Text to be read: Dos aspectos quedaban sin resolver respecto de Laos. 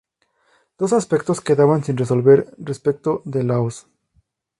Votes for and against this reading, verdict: 2, 0, accepted